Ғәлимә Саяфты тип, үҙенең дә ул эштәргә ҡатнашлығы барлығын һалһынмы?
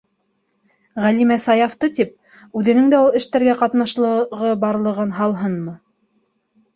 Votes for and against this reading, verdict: 2, 3, rejected